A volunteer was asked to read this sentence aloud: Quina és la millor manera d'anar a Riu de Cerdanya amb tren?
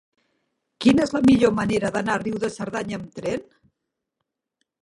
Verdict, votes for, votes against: accepted, 9, 3